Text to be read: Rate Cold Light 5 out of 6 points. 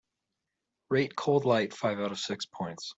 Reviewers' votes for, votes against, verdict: 0, 2, rejected